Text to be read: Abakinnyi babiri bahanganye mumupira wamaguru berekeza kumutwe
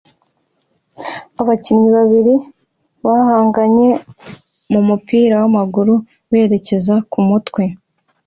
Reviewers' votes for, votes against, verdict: 2, 0, accepted